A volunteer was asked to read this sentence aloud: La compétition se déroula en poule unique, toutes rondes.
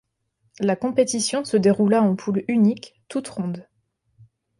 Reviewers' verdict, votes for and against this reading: accepted, 2, 0